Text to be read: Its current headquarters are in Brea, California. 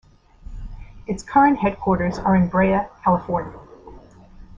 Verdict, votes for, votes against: accepted, 2, 1